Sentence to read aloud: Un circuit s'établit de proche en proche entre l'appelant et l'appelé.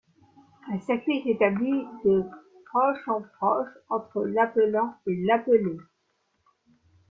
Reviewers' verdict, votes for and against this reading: accepted, 2, 1